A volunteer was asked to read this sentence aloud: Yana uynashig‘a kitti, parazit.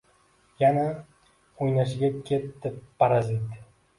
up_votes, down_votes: 2, 0